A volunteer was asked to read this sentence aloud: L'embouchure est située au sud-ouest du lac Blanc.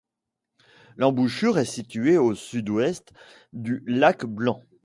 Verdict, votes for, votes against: accepted, 2, 0